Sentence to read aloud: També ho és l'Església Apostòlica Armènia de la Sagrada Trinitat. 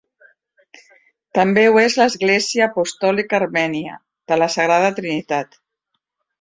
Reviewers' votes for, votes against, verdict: 2, 0, accepted